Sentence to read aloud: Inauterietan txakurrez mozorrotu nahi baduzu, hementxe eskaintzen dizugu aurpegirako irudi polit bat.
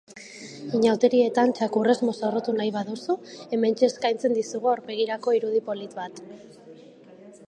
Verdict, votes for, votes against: accepted, 2, 0